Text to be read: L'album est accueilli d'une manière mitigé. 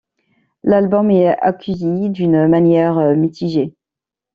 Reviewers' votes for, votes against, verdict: 1, 2, rejected